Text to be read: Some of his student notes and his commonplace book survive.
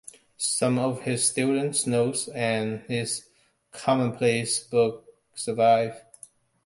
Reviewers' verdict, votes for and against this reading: rejected, 1, 2